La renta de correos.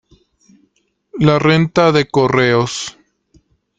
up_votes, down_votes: 2, 0